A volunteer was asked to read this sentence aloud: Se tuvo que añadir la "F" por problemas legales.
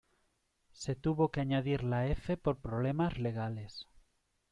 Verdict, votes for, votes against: accepted, 2, 0